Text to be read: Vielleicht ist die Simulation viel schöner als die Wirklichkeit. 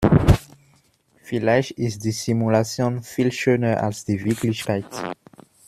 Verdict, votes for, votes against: accepted, 2, 0